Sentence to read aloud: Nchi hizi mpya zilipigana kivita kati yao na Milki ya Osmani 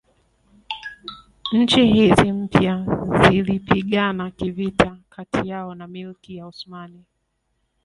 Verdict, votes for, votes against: accepted, 2, 1